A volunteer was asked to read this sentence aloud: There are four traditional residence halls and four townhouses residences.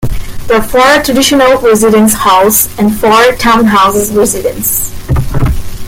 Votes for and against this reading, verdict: 0, 2, rejected